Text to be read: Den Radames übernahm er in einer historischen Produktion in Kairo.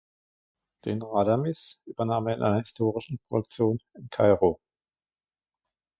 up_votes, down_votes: 1, 2